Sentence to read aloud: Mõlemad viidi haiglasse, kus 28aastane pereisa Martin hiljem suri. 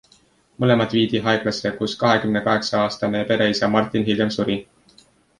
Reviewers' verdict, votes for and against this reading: rejected, 0, 2